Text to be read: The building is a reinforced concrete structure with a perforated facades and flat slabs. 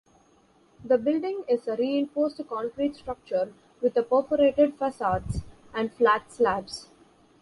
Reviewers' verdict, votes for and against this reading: accepted, 2, 0